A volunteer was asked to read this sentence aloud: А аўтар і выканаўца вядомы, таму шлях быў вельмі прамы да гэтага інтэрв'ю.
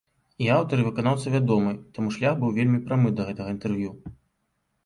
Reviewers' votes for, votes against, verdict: 2, 0, accepted